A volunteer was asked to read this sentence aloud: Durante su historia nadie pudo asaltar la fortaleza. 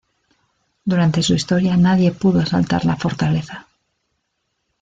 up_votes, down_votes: 2, 0